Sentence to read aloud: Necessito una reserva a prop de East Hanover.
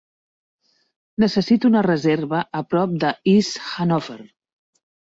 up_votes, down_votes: 2, 0